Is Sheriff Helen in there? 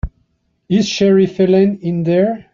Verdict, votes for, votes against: rejected, 0, 2